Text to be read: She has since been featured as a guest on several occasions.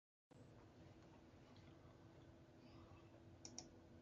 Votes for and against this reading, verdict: 0, 2, rejected